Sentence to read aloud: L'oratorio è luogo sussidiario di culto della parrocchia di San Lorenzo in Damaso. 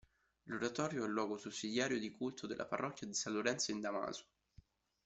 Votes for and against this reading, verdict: 1, 2, rejected